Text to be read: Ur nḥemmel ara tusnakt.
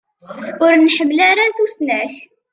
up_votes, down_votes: 2, 0